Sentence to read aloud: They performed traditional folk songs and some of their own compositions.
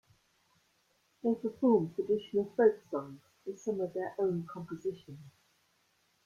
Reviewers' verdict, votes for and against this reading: accepted, 2, 0